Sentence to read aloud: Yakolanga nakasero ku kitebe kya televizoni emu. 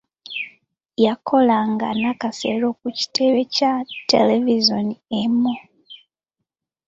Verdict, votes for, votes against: accepted, 2, 0